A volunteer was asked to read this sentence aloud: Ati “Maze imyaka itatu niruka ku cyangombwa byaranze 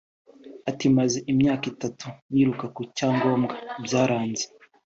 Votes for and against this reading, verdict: 2, 0, accepted